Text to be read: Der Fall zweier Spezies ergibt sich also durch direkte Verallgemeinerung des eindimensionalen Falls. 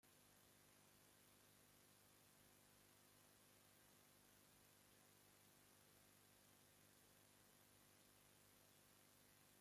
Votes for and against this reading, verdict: 0, 2, rejected